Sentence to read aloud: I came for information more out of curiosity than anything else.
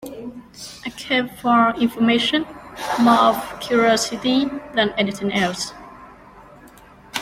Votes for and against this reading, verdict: 1, 2, rejected